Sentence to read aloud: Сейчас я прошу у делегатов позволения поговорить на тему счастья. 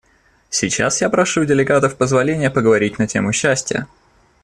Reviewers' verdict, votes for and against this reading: accepted, 2, 0